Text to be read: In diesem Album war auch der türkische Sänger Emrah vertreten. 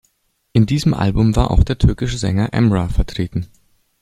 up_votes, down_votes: 2, 0